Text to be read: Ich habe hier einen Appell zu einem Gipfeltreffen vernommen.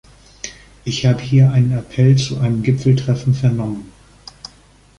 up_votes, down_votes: 2, 0